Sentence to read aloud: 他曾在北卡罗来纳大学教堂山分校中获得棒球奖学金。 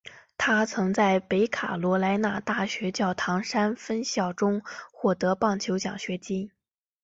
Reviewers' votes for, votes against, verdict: 2, 0, accepted